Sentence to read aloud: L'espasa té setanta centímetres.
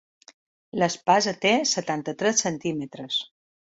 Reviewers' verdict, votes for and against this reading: rejected, 0, 2